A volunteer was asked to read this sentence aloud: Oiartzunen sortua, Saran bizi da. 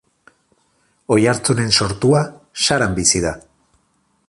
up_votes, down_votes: 4, 0